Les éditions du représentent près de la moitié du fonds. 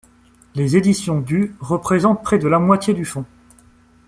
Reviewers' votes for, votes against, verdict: 2, 0, accepted